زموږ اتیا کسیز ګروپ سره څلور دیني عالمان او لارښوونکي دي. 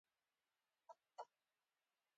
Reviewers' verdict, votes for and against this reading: accepted, 2, 1